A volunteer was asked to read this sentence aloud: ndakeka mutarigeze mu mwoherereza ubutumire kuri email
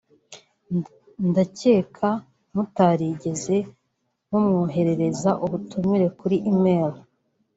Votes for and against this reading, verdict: 0, 2, rejected